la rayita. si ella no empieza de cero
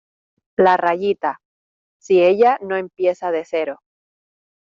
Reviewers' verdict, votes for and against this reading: accepted, 2, 0